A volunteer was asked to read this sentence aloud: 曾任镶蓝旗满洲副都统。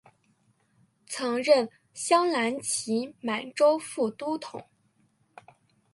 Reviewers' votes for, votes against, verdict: 6, 0, accepted